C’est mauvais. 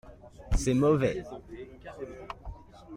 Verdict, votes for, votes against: accepted, 2, 0